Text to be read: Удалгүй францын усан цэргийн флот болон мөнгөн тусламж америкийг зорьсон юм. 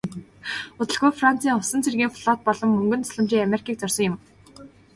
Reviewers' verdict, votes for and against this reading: rejected, 0, 2